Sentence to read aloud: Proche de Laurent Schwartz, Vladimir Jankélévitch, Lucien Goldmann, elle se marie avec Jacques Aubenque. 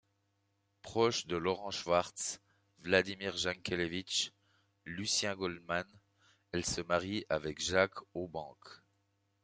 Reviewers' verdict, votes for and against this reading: accepted, 2, 0